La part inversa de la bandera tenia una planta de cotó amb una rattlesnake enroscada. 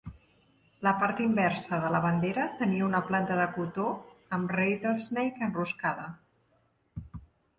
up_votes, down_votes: 0, 2